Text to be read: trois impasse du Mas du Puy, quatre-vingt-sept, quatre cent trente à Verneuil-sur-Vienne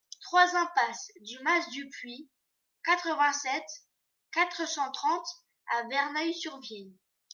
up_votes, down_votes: 1, 2